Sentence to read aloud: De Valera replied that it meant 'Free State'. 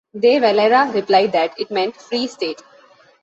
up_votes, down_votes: 2, 0